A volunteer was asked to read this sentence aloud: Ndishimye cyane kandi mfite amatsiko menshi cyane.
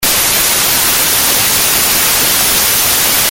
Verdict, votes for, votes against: rejected, 0, 2